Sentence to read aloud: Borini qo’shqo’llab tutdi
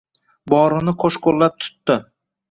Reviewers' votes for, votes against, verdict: 2, 0, accepted